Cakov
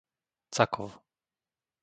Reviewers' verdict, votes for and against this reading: accepted, 2, 0